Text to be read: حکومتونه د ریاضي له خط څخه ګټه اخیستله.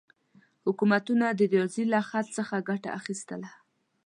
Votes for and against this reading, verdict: 2, 0, accepted